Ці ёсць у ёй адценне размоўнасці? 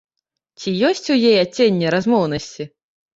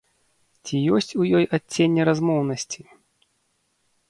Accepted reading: second